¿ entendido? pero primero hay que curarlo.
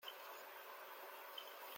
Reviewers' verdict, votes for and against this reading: rejected, 0, 2